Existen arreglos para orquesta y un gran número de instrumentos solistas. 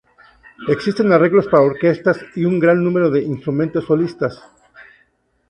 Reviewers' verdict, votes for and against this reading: rejected, 0, 2